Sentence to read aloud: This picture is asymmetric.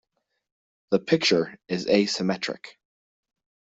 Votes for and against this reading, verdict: 0, 2, rejected